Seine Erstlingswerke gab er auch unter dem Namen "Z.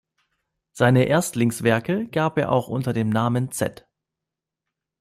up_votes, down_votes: 2, 0